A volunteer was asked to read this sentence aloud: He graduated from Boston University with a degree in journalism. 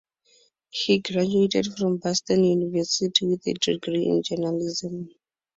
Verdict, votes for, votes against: accepted, 4, 0